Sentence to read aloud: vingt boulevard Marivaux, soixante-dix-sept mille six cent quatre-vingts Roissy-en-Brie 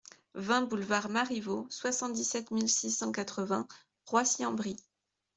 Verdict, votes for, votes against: accepted, 2, 0